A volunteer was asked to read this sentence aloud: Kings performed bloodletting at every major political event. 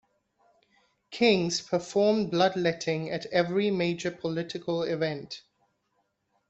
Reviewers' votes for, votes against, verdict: 2, 1, accepted